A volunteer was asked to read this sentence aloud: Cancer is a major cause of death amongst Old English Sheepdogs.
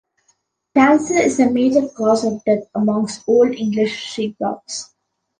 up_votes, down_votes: 1, 2